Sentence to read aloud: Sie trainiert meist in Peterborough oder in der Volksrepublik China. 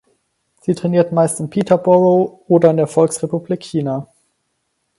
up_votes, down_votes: 4, 2